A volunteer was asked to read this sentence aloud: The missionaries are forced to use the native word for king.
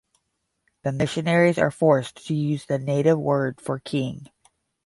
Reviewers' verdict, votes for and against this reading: accepted, 10, 0